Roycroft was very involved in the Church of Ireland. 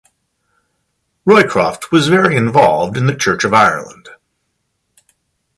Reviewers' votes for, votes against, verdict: 2, 0, accepted